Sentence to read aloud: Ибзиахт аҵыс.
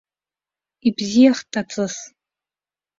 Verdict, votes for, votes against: accepted, 2, 0